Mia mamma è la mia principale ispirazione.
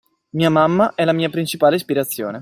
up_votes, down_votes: 2, 0